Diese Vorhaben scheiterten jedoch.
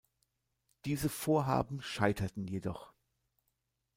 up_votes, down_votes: 2, 0